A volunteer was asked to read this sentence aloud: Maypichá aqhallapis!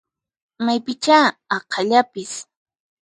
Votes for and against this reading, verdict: 4, 0, accepted